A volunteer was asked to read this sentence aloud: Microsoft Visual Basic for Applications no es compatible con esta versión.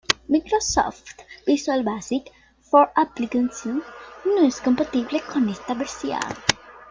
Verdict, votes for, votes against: accepted, 2, 0